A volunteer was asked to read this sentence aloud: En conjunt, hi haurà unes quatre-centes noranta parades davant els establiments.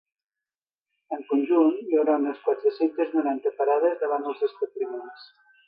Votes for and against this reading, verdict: 1, 2, rejected